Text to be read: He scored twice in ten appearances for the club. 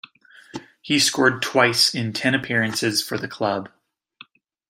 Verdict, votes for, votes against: accepted, 2, 0